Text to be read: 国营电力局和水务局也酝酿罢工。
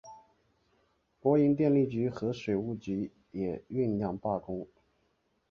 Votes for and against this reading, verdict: 3, 0, accepted